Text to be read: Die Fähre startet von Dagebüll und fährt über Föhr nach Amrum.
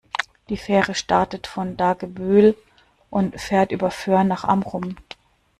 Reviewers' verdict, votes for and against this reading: accepted, 2, 0